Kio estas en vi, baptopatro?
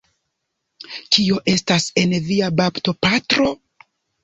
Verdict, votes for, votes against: accepted, 2, 1